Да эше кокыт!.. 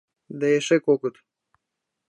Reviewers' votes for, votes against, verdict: 2, 0, accepted